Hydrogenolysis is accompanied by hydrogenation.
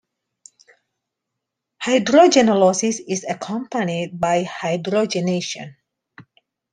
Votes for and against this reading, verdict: 2, 1, accepted